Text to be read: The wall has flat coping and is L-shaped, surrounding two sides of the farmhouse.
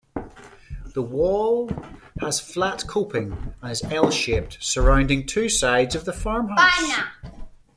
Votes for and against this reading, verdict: 2, 0, accepted